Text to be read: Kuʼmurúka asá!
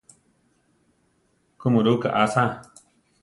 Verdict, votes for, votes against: accepted, 2, 0